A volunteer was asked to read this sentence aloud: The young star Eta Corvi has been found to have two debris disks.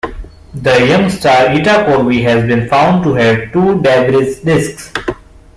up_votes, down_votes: 1, 2